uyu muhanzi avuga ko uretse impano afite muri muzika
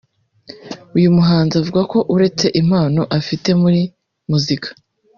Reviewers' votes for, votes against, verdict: 2, 0, accepted